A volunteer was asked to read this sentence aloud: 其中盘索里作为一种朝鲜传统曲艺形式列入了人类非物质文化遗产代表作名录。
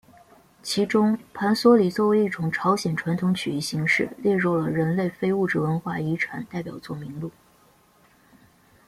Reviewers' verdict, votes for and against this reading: accepted, 2, 0